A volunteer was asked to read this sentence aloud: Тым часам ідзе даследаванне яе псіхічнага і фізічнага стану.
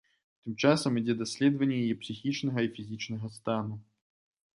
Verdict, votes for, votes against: accepted, 2, 0